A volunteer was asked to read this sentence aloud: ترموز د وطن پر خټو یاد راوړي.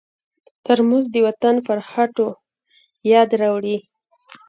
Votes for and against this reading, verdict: 2, 1, accepted